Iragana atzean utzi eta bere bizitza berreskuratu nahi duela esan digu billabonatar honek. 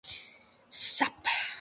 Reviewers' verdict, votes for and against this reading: rejected, 0, 3